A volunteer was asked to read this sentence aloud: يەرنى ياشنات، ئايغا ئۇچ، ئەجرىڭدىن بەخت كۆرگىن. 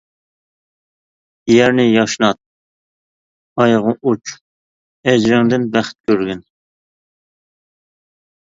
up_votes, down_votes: 2, 0